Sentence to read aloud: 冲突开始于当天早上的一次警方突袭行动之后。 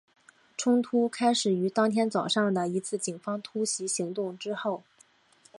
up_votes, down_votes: 4, 0